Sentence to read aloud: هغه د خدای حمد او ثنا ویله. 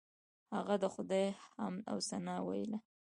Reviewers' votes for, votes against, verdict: 1, 2, rejected